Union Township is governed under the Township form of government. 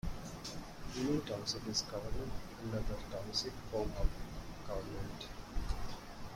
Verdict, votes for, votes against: rejected, 0, 2